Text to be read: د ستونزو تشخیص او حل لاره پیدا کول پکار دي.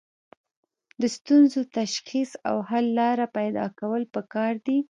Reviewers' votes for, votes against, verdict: 1, 2, rejected